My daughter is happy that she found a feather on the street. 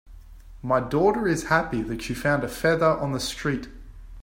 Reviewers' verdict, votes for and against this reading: accepted, 2, 0